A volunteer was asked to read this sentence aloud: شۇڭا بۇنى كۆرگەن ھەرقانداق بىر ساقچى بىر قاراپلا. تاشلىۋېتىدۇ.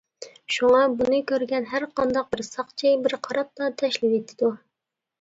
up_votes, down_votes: 2, 0